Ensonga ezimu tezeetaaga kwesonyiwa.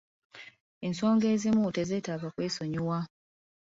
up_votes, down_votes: 2, 0